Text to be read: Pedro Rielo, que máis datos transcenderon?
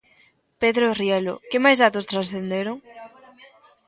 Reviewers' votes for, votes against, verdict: 0, 2, rejected